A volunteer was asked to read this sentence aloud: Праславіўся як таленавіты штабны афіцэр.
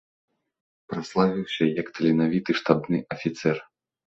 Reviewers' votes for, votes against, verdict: 3, 0, accepted